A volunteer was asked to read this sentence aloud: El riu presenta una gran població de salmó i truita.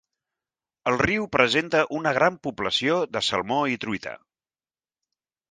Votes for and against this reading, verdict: 3, 0, accepted